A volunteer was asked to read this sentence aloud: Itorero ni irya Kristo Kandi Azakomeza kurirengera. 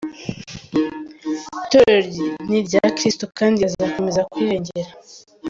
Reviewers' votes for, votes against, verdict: 0, 2, rejected